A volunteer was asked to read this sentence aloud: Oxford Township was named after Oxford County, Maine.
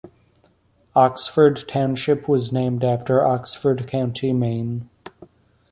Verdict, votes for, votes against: accepted, 2, 0